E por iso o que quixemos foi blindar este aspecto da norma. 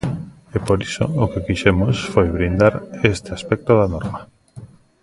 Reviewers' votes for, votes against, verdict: 2, 0, accepted